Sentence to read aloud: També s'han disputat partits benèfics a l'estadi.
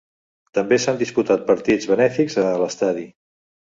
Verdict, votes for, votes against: accepted, 2, 0